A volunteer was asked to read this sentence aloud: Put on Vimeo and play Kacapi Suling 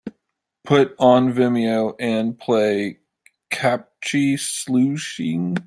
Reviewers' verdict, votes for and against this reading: rejected, 0, 2